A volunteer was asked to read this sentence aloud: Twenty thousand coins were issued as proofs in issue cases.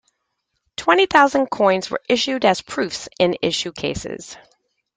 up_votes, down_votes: 2, 0